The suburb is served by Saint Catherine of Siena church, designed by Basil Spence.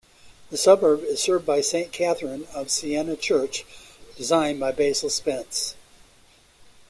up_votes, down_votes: 3, 0